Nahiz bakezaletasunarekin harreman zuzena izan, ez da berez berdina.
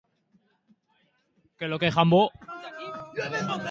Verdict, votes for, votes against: rejected, 0, 2